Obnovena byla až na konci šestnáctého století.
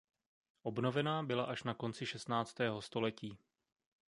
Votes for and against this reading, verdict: 0, 2, rejected